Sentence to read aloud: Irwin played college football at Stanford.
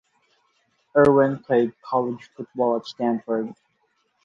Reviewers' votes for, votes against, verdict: 2, 2, rejected